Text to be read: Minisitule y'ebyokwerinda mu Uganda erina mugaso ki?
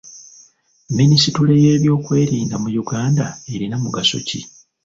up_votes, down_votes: 1, 2